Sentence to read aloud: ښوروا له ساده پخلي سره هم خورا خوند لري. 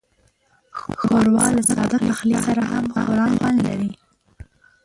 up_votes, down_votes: 2, 0